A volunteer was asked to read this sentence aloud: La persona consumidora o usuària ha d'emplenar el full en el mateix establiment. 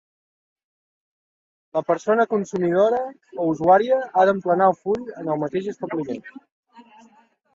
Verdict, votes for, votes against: accepted, 2, 0